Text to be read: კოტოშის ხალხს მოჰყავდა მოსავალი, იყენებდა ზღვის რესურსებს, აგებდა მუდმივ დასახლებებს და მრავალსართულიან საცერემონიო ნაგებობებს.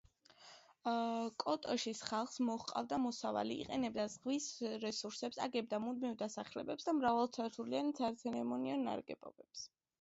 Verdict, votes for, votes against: accepted, 2, 0